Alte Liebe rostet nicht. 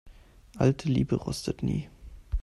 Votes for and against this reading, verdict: 0, 2, rejected